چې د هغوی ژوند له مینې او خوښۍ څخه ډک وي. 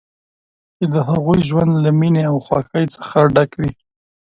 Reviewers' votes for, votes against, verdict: 1, 2, rejected